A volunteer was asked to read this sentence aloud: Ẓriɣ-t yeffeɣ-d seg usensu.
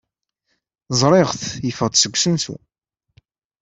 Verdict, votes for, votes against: accepted, 2, 0